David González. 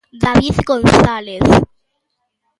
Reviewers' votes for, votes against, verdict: 0, 2, rejected